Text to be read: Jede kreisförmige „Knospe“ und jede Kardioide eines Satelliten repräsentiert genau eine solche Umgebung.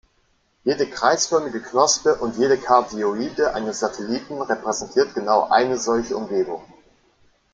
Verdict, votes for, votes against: accepted, 2, 0